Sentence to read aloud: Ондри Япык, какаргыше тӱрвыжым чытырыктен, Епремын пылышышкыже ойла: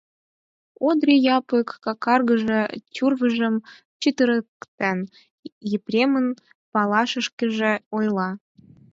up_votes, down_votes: 4, 0